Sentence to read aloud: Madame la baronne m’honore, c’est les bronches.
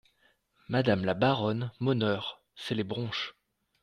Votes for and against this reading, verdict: 1, 2, rejected